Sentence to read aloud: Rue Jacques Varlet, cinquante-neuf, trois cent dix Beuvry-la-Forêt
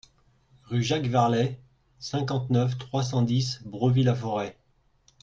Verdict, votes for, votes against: rejected, 1, 2